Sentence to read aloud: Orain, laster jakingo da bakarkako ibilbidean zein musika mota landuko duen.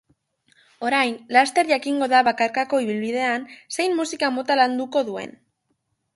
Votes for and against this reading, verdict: 3, 0, accepted